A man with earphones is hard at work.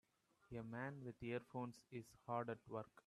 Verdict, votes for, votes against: accepted, 2, 0